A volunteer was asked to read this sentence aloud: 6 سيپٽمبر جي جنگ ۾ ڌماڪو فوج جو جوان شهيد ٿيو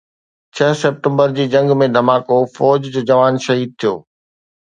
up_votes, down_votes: 0, 2